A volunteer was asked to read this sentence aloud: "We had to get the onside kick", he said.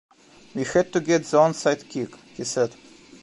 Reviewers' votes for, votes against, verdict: 0, 2, rejected